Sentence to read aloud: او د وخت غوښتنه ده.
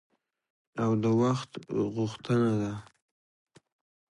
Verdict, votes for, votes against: accepted, 2, 1